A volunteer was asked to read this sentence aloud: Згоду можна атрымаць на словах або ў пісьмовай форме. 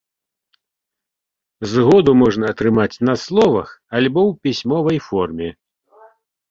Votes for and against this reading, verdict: 0, 2, rejected